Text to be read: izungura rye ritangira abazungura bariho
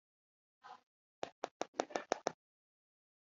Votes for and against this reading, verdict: 0, 2, rejected